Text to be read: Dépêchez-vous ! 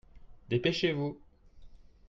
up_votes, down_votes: 2, 0